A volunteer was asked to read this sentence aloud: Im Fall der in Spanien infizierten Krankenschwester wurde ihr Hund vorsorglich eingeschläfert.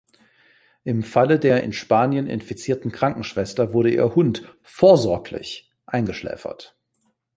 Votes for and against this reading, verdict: 2, 3, rejected